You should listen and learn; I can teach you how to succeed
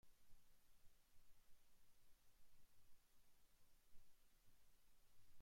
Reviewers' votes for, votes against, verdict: 0, 2, rejected